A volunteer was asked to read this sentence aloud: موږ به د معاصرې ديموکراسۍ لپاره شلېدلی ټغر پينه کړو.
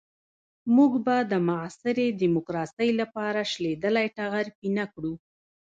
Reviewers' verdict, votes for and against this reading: rejected, 0, 2